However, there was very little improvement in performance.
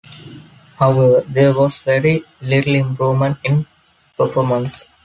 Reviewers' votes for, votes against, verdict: 3, 0, accepted